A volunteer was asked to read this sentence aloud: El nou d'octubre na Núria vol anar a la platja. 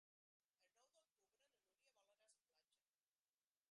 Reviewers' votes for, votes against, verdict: 0, 2, rejected